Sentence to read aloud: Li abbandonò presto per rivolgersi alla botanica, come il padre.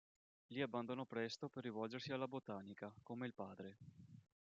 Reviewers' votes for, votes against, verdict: 2, 0, accepted